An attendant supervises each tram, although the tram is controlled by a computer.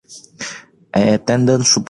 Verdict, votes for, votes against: rejected, 0, 2